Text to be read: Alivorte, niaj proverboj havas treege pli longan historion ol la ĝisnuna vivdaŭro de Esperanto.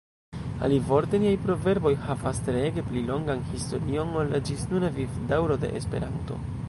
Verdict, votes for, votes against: rejected, 0, 2